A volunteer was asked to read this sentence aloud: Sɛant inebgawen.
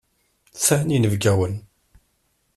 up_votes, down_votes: 1, 2